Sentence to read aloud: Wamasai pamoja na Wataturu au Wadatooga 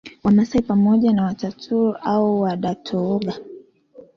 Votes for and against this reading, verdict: 2, 1, accepted